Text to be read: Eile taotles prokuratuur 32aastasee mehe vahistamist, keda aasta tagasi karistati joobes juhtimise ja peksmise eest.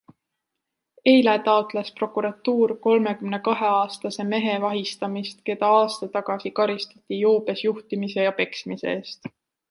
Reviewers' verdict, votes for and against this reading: rejected, 0, 2